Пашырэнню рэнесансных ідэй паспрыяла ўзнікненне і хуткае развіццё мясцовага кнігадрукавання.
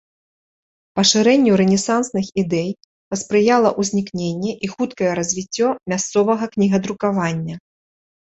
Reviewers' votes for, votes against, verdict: 3, 1, accepted